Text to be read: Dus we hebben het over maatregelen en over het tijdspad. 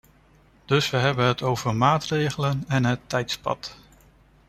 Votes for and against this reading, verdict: 0, 3, rejected